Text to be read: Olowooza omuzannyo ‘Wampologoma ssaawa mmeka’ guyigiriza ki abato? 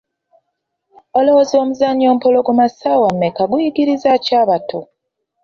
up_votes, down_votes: 2, 0